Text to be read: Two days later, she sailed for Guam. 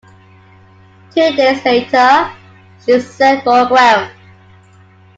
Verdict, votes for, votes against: accepted, 2, 0